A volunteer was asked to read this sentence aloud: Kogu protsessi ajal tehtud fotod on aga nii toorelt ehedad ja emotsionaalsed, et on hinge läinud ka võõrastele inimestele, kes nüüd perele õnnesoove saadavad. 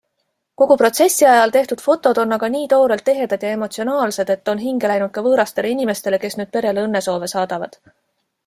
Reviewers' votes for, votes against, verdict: 2, 0, accepted